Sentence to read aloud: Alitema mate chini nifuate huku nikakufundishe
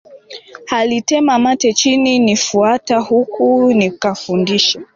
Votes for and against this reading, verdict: 0, 2, rejected